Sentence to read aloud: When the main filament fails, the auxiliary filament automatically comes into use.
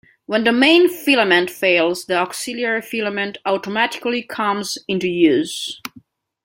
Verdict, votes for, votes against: accepted, 2, 0